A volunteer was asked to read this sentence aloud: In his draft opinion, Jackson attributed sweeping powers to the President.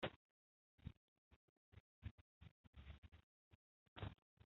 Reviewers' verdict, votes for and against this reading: rejected, 0, 2